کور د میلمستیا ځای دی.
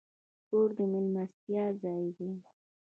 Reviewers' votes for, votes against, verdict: 1, 2, rejected